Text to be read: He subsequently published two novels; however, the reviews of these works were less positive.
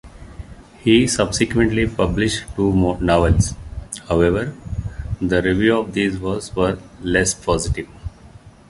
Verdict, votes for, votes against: rejected, 0, 2